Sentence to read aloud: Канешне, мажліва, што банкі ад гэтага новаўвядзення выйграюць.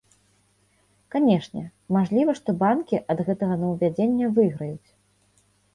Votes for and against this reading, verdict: 2, 0, accepted